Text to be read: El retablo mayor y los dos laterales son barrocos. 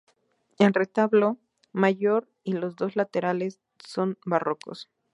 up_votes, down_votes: 2, 0